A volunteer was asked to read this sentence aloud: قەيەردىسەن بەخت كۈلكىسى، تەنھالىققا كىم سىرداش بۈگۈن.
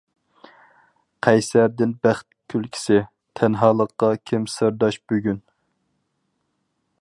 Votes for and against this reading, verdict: 2, 2, rejected